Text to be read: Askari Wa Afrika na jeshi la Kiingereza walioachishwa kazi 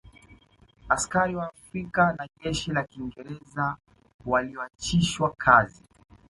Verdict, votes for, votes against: rejected, 1, 2